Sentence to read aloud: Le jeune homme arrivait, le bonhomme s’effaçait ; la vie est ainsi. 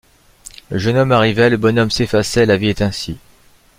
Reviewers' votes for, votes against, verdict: 2, 0, accepted